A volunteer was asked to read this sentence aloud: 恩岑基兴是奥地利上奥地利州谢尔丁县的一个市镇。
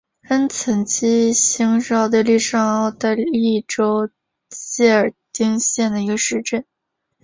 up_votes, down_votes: 0, 2